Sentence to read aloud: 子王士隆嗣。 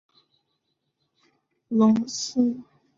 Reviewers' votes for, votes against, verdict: 4, 6, rejected